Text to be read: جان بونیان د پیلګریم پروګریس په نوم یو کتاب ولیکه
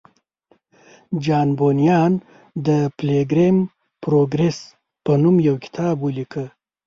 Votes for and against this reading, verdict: 1, 2, rejected